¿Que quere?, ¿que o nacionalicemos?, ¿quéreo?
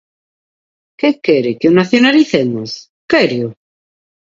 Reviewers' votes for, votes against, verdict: 2, 0, accepted